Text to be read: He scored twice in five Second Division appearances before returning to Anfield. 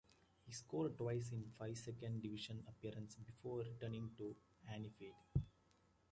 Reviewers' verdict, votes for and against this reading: accepted, 2, 1